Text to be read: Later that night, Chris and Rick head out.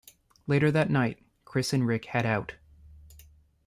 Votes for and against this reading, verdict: 2, 0, accepted